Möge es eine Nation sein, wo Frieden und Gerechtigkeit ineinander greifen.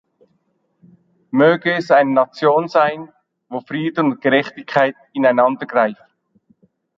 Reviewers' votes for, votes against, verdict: 2, 0, accepted